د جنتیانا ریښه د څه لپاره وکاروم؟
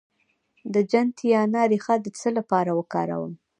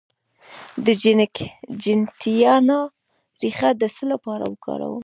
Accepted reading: first